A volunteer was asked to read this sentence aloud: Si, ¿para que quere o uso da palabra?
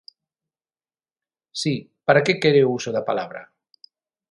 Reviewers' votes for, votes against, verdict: 6, 0, accepted